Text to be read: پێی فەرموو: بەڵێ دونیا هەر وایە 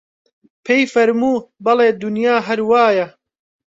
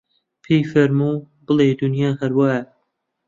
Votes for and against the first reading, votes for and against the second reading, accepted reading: 2, 0, 1, 2, first